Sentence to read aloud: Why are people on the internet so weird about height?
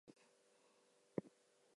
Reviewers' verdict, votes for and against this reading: rejected, 0, 2